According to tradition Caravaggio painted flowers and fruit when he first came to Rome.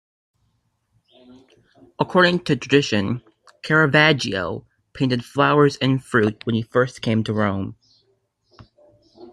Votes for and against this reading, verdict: 2, 0, accepted